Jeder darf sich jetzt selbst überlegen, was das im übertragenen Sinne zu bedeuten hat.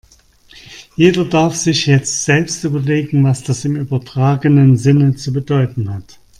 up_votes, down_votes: 2, 0